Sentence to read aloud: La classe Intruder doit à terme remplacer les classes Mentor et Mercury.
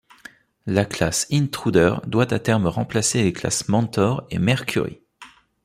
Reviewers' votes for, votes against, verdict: 2, 0, accepted